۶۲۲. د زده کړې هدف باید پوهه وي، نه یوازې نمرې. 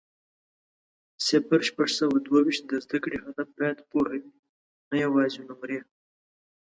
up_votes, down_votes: 0, 2